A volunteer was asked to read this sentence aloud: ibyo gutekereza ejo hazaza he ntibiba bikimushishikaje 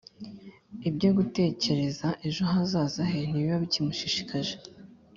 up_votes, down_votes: 3, 0